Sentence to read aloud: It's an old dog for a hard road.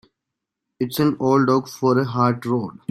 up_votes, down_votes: 1, 2